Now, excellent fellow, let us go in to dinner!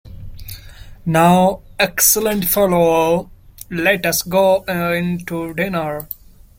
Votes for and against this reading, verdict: 1, 2, rejected